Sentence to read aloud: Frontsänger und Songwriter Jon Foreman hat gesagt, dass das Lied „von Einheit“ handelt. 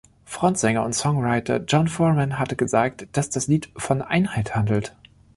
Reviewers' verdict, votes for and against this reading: rejected, 0, 2